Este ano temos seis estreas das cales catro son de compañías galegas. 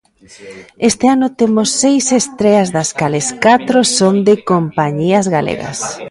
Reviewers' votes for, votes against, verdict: 1, 2, rejected